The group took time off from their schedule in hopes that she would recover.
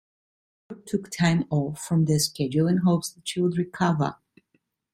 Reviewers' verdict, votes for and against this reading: rejected, 0, 3